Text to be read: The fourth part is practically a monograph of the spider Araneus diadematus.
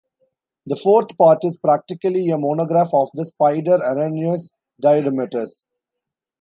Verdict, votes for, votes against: rejected, 0, 2